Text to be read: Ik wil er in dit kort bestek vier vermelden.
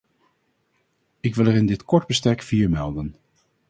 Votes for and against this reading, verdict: 0, 2, rejected